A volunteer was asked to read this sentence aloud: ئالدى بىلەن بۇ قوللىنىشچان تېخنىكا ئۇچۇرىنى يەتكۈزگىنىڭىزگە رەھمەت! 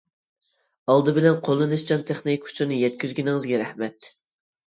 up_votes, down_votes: 0, 2